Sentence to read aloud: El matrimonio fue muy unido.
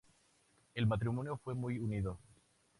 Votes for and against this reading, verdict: 0, 2, rejected